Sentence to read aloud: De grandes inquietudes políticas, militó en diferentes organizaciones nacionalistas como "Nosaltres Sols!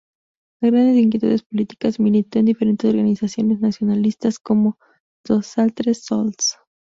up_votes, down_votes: 0, 2